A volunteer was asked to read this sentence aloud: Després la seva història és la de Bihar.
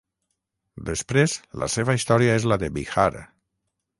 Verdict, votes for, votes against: rejected, 3, 3